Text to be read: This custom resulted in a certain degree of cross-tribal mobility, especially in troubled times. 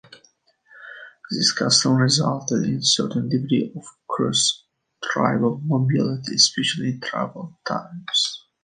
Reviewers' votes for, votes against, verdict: 2, 0, accepted